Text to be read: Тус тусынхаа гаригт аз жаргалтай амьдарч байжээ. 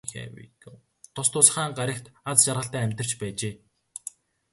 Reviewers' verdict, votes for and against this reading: rejected, 2, 2